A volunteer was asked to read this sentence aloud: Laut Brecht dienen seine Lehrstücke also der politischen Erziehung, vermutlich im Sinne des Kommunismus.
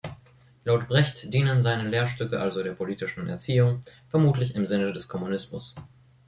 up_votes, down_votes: 2, 1